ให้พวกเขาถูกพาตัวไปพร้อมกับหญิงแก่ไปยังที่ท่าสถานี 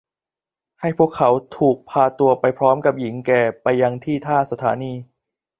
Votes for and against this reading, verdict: 2, 0, accepted